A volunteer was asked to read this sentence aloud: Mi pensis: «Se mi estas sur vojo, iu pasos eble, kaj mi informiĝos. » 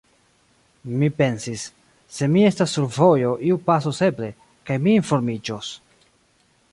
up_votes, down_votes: 2, 0